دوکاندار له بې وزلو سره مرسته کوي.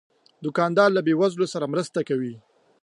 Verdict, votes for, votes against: accepted, 2, 0